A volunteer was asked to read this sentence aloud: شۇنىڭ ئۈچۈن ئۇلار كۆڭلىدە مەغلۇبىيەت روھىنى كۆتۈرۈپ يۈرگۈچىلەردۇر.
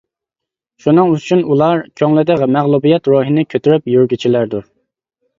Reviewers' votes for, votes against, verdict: 1, 2, rejected